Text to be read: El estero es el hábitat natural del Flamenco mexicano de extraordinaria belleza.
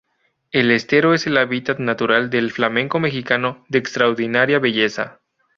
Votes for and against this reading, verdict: 2, 0, accepted